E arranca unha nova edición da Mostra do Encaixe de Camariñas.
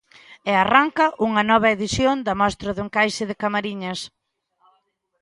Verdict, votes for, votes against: accepted, 2, 1